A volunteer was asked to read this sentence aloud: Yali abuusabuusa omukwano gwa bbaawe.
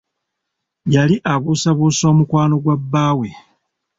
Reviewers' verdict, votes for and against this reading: accepted, 2, 1